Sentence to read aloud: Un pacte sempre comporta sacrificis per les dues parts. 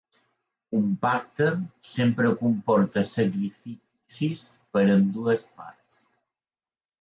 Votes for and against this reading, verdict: 0, 2, rejected